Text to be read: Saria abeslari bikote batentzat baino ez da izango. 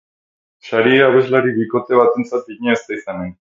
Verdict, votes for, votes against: rejected, 0, 4